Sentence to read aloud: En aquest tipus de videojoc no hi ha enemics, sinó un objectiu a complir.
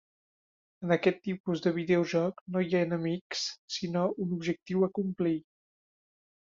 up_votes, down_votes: 3, 0